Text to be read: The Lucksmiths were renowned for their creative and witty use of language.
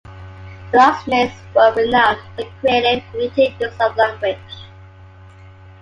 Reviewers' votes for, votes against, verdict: 0, 3, rejected